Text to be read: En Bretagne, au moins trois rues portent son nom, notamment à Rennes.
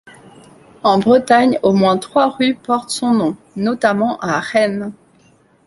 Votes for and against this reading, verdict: 2, 0, accepted